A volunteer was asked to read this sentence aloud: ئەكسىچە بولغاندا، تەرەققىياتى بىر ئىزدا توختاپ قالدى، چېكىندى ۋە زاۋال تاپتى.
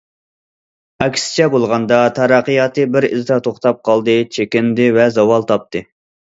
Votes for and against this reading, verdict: 2, 0, accepted